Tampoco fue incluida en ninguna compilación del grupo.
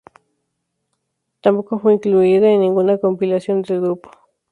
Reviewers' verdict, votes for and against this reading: rejected, 0, 2